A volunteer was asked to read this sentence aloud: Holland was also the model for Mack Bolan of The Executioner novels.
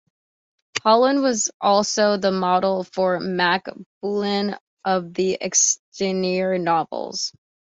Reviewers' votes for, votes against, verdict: 1, 2, rejected